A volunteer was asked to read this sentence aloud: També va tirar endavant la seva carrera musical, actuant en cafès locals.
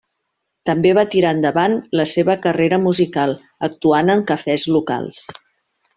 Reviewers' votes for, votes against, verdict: 2, 0, accepted